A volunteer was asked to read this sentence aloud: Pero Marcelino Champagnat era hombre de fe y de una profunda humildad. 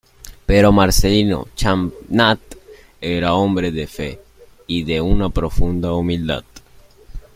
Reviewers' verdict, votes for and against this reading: rejected, 0, 2